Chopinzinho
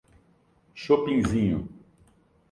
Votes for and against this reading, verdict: 2, 0, accepted